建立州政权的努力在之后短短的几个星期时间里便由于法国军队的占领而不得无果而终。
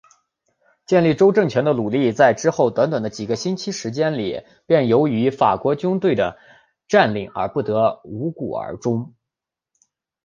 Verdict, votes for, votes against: accepted, 3, 0